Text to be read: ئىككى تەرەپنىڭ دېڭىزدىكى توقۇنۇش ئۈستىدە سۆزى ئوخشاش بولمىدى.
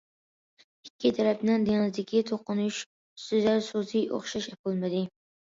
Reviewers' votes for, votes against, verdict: 1, 2, rejected